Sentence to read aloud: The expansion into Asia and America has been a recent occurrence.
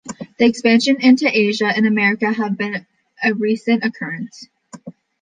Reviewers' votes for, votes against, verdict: 1, 2, rejected